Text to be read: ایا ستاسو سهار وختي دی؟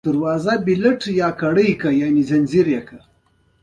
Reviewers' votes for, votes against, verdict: 0, 2, rejected